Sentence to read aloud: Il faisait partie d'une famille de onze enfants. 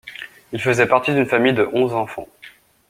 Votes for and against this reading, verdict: 2, 0, accepted